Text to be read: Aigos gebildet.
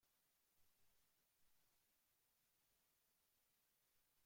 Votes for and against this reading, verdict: 0, 2, rejected